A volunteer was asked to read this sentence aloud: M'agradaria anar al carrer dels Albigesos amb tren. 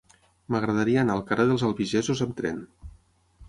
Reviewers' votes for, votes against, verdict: 6, 0, accepted